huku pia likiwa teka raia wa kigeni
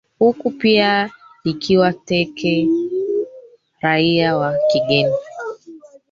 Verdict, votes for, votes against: rejected, 0, 4